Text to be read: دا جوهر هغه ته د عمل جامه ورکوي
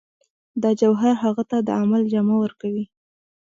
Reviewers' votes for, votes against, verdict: 1, 2, rejected